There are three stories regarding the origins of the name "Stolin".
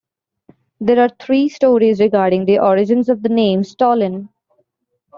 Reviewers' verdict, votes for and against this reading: accepted, 2, 0